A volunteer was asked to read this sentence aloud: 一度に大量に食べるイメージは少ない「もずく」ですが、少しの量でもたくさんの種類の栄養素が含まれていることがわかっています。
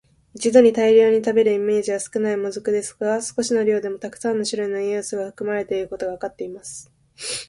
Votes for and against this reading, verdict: 3, 0, accepted